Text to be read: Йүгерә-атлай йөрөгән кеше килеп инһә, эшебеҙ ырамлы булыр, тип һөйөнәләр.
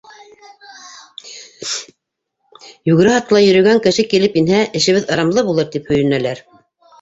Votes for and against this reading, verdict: 1, 2, rejected